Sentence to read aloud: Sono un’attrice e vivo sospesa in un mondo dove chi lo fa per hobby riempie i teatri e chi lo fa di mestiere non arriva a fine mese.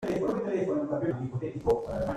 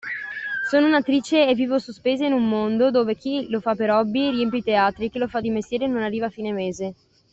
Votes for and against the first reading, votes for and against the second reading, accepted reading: 0, 2, 2, 0, second